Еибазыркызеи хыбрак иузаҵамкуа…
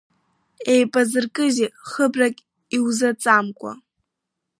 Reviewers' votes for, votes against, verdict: 1, 2, rejected